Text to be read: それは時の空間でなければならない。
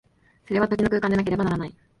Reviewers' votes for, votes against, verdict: 1, 2, rejected